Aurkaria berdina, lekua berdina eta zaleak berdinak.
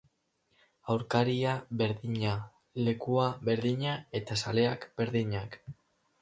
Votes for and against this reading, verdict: 4, 0, accepted